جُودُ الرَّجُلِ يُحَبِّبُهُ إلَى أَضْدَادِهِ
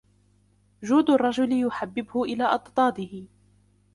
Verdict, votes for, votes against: rejected, 0, 2